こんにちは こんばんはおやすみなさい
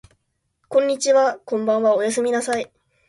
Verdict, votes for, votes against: accepted, 2, 0